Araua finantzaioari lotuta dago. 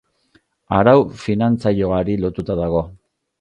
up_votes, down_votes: 1, 3